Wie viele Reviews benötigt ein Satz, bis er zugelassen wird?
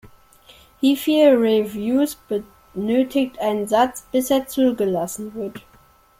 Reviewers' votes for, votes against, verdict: 1, 2, rejected